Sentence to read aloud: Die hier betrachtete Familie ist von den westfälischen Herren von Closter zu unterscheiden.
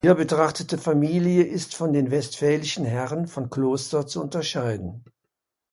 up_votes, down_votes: 0, 2